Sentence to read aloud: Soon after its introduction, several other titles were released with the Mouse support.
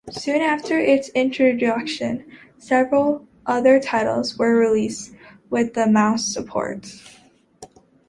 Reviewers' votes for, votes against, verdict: 2, 0, accepted